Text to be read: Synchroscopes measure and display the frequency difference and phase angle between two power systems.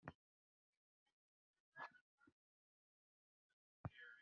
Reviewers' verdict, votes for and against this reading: rejected, 0, 2